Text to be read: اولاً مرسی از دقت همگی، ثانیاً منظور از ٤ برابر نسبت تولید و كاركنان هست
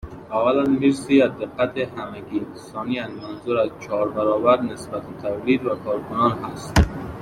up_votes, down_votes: 0, 2